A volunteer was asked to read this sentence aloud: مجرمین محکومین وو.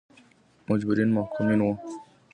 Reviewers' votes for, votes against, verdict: 2, 0, accepted